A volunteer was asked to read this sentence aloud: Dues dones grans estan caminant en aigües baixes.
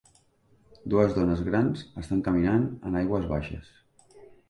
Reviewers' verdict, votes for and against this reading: accepted, 3, 0